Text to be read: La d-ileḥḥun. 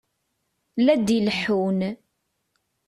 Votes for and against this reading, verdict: 2, 0, accepted